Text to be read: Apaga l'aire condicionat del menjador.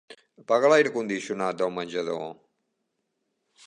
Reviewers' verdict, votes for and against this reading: rejected, 1, 2